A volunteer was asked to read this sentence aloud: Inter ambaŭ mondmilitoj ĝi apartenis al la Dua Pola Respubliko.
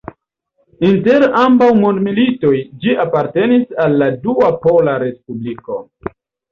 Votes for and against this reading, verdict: 2, 1, accepted